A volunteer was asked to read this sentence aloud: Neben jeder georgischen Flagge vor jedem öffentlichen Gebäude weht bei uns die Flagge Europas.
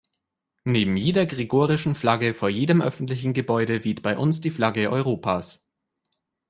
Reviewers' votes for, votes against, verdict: 0, 2, rejected